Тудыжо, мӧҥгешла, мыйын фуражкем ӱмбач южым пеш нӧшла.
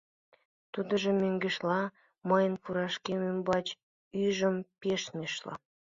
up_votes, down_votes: 1, 2